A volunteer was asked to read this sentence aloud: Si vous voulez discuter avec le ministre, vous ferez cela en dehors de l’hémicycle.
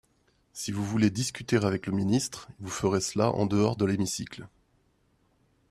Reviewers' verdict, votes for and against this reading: accepted, 2, 0